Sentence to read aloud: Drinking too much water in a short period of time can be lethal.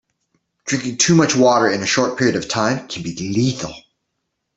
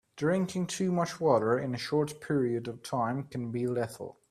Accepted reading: first